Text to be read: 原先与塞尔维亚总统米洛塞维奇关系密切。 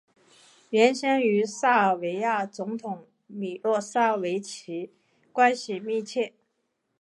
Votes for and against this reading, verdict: 2, 0, accepted